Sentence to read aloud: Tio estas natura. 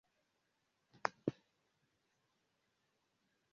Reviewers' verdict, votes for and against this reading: rejected, 1, 2